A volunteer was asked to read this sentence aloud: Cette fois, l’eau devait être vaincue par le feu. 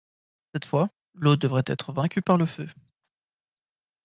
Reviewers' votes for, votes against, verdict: 1, 2, rejected